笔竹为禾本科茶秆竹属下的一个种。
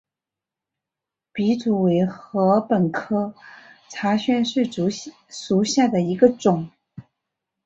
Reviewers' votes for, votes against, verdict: 2, 0, accepted